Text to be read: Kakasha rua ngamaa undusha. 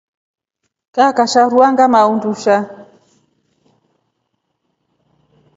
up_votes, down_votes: 2, 0